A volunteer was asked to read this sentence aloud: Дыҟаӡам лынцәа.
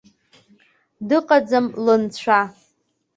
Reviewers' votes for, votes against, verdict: 2, 0, accepted